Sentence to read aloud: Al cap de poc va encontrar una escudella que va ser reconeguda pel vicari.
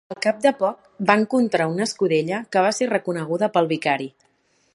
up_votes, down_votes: 3, 0